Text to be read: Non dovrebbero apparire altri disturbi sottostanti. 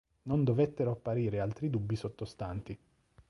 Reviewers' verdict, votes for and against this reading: rejected, 0, 2